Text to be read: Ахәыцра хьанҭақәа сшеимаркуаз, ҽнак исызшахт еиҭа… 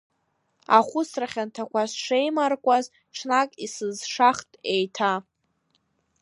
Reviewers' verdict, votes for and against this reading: accepted, 2, 1